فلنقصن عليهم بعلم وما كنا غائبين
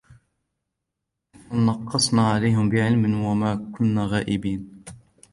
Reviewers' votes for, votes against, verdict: 1, 2, rejected